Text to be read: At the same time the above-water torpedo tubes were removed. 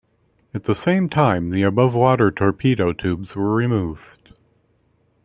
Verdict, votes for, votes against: accepted, 2, 0